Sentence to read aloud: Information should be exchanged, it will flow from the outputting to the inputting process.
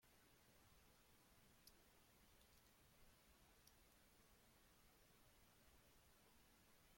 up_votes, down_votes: 0, 2